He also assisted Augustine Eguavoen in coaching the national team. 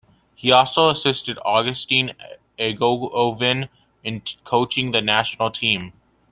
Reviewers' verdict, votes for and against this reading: accepted, 2, 0